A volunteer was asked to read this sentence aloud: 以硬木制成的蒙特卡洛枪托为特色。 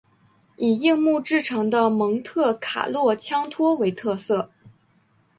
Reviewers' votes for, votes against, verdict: 3, 1, accepted